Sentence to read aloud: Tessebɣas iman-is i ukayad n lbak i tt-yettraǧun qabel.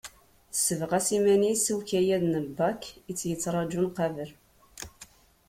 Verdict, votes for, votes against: accepted, 2, 0